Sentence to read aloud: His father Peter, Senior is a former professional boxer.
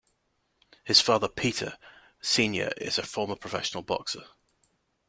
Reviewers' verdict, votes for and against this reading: accepted, 2, 0